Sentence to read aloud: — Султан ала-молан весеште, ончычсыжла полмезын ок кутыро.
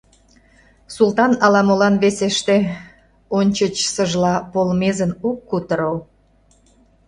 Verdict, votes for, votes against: accepted, 2, 0